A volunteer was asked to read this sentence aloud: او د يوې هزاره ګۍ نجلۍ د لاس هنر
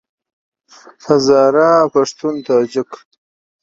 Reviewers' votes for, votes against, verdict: 0, 2, rejected